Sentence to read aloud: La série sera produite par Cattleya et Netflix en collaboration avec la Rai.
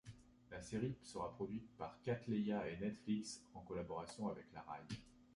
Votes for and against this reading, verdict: 0, 2, rejected